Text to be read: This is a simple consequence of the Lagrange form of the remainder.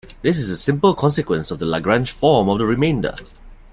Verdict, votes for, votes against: accepted, 2, 0